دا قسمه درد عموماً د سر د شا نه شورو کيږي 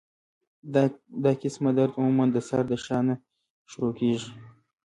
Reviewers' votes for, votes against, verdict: 2, 1, accepted